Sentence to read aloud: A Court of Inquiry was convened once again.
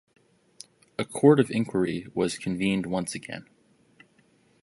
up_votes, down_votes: 2, 0